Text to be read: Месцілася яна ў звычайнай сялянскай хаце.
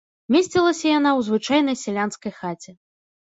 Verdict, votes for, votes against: accepted, 2, 0